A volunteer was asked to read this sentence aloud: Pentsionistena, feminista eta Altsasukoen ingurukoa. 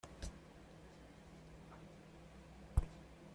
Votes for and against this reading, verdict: 0, 2, rejected